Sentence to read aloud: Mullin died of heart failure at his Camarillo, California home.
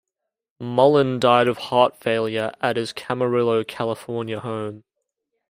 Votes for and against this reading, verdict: 2, 0, accepted